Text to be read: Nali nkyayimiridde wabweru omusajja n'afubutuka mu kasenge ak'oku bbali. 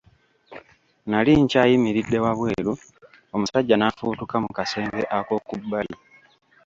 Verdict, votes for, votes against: rejected, 0, 2